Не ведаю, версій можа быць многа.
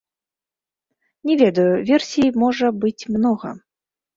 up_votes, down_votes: 0, 2